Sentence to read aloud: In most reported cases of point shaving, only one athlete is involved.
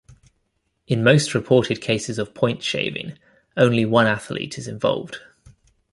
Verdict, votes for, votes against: accepted, 2, 0